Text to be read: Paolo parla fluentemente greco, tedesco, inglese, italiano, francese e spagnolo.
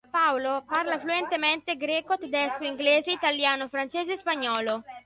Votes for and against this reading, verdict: 2, 1, accepted